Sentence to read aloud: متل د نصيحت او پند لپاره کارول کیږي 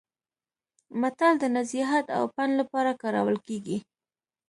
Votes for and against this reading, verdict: 2, 0, accepted